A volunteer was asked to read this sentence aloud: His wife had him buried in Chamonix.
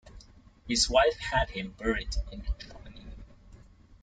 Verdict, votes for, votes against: accepted, 2, 0